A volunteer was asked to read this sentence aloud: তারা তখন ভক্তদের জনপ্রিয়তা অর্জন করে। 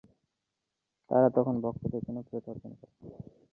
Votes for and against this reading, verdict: 0, 2, rejected